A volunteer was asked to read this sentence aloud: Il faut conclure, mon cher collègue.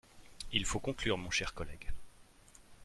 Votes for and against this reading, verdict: 2, 0, accepted